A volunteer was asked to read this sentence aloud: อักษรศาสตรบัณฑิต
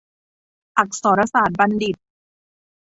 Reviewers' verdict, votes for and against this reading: accepted, 2, 0